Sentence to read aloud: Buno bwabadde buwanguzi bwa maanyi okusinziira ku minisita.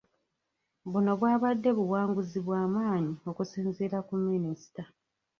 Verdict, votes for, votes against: rejected, 0, 2